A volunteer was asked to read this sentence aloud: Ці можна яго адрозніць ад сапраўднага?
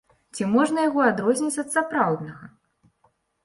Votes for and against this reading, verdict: 2, 0, accepted